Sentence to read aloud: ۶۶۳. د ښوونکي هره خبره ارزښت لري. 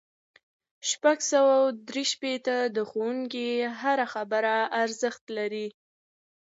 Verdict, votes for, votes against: rejected, 0, 2